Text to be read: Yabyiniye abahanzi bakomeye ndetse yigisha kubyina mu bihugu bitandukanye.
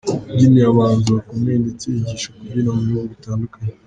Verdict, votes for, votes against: rejected, 0, 2